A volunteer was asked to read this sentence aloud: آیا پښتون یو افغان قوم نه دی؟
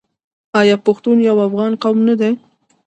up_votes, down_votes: 0, 2